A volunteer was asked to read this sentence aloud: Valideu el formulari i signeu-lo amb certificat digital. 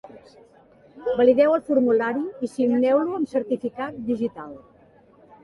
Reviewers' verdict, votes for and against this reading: accepted, 2, 0